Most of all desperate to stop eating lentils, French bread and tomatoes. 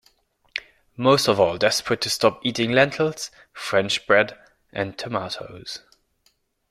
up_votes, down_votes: 2, 0